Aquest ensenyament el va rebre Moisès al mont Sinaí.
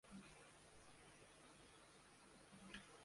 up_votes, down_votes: 0, 2